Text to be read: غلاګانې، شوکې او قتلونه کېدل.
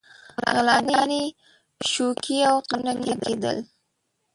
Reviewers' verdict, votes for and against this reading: rejected, 1, 2